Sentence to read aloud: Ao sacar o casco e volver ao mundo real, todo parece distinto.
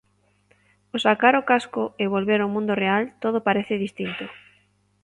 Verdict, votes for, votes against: accepted, 2, 0